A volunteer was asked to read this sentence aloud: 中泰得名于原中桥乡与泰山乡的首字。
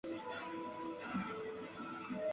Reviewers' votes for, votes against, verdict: 2, 1, accepted